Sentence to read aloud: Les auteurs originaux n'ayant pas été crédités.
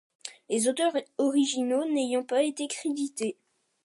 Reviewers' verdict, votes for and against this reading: accepted, 2, 1